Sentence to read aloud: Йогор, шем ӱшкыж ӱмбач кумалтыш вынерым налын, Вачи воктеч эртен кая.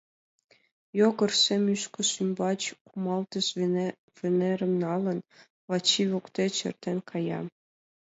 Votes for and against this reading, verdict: 1, 2, rejected